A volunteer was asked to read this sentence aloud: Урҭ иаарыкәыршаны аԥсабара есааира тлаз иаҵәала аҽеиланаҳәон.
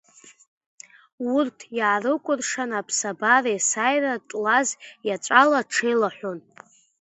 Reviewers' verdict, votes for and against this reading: rejected, 2, 3